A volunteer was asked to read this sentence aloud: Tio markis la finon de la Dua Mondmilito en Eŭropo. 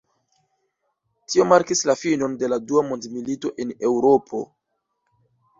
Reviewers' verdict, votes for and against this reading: rejected, 1, 2